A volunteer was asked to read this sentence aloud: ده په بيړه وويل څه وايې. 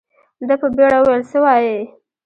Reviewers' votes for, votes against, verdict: 2, 0, accepted